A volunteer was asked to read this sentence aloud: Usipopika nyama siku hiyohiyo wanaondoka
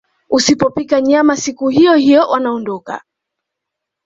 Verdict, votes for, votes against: accepted, 2, 1